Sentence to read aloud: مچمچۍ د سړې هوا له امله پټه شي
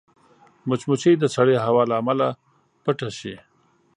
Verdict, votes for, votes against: accepted, 8, 0